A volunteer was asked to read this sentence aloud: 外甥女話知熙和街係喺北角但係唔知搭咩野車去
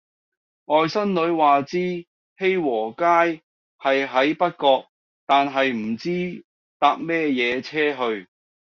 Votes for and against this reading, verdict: 2, 0, accepted